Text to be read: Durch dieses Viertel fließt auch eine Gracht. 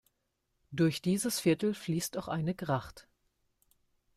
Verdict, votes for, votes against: accepted, 2, 0